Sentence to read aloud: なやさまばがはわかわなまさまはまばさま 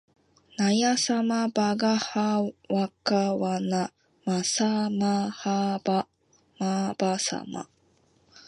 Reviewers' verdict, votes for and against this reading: accepted, 2, 1